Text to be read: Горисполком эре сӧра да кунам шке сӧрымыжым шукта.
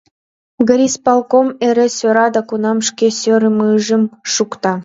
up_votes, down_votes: 1, 4